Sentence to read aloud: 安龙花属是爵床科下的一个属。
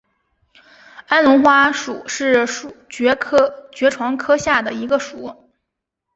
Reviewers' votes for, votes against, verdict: 1, 2, rejected